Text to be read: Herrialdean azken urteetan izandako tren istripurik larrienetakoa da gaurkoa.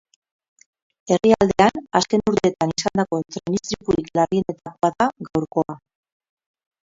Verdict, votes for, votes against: rejected, 2, 2